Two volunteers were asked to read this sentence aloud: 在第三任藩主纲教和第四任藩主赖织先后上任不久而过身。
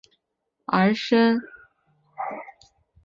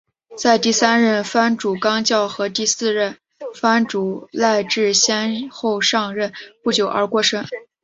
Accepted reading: second